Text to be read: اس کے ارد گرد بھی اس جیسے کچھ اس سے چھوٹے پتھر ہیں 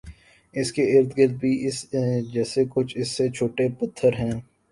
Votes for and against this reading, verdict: 3, 1, accepted